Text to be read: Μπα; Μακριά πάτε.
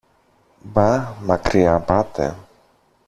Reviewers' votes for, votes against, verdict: 1, 2, rejected